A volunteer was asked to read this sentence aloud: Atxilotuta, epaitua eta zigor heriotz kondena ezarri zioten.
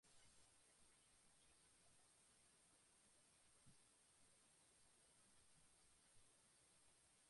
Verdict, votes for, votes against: rejected, 0, 2